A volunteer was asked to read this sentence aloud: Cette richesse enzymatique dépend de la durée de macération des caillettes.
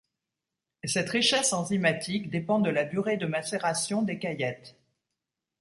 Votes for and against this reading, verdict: 2, 1, accepted